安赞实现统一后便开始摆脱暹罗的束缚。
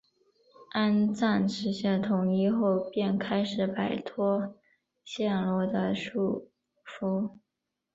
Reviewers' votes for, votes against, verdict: 3, 0, accepted